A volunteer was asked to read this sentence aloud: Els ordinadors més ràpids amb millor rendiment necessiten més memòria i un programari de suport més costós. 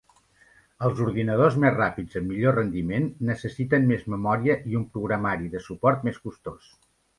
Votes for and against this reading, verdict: 3, 0, accepted